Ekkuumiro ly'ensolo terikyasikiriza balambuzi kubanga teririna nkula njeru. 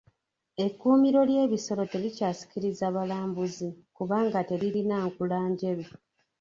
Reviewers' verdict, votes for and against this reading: rejected, 1, 2